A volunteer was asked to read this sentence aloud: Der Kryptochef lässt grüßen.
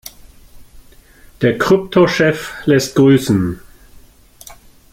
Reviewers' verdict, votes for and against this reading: accepted, 2, 0